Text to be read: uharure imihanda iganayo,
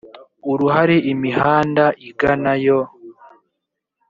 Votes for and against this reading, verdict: 1, 2, rejected